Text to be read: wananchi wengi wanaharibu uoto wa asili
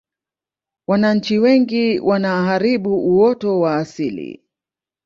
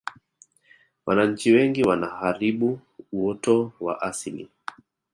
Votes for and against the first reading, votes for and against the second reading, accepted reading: 2, 0, 0, 2, first